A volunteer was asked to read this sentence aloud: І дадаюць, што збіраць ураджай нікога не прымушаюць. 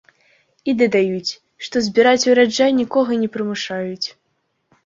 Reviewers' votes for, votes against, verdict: 2, 0, accepted